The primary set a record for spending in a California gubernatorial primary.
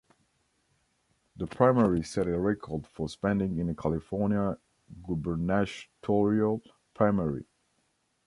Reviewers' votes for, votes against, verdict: 2, 1, accepted